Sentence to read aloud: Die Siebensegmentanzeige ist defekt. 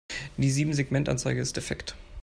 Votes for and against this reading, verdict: 2, 0, accepted